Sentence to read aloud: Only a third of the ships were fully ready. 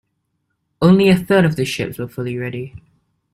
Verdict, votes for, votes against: accepted, 2, 0